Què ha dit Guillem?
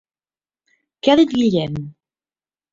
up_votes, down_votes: 0, 4